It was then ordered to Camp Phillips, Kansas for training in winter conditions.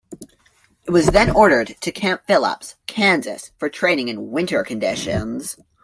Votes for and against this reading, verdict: 2, 0, accepted